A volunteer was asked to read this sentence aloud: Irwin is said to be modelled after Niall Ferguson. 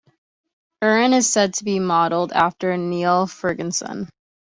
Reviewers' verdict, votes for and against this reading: accepted, 2, 1